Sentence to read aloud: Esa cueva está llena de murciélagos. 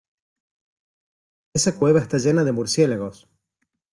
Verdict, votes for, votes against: accepted, 2, 0